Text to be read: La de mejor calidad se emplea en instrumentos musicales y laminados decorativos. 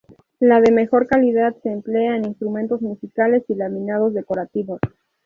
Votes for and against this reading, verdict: 2, 0, accepted